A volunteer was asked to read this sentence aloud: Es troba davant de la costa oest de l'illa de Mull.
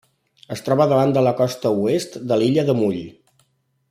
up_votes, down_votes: 3, 0